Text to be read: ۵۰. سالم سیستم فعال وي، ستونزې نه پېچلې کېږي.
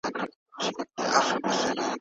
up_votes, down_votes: 0, 2